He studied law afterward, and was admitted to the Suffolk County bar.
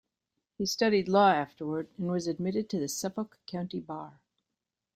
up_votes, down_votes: 2, 0